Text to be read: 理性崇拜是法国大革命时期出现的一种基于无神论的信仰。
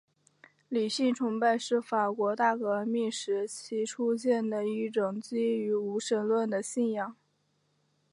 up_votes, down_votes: 2, 0